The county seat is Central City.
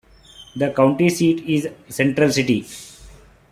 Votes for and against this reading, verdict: 3, 1, accepted